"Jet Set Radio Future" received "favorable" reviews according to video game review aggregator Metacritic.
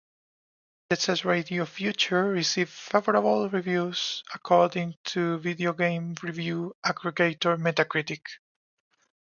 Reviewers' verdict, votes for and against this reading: rejected, 0, 2